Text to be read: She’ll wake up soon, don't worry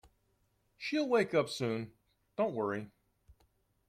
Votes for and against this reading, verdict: 2, 0, accepted